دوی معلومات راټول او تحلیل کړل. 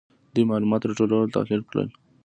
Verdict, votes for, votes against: accepted, 2, 0